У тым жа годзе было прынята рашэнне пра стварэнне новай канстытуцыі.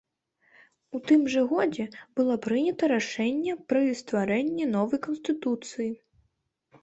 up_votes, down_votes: 0, 2